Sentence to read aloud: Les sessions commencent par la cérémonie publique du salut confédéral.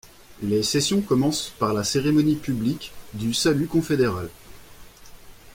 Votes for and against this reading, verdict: 2, 0, accepted